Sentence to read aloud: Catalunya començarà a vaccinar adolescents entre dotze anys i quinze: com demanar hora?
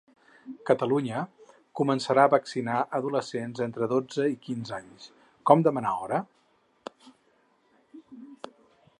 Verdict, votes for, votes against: rejected, 2, 4